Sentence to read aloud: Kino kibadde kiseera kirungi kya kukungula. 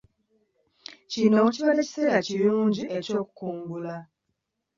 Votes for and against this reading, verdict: 1, 2, rejected